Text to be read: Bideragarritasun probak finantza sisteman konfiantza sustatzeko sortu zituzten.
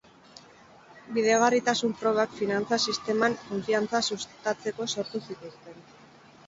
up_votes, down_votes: 8, 0